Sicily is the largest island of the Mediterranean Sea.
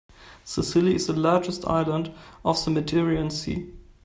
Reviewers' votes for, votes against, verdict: 0, 2, rejected